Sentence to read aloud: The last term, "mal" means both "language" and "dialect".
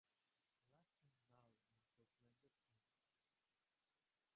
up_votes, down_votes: 0, 2